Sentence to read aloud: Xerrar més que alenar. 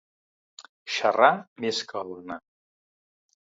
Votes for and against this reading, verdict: 1, 2, rejected